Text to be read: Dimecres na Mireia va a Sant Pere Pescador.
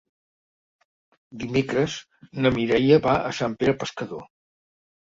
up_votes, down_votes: 2, 0